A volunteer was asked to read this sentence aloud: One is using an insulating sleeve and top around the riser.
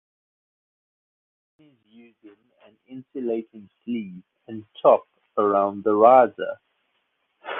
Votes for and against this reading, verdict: 2, 1, accepted